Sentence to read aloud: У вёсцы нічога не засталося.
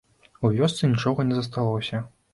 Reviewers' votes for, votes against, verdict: 2, 0, accepted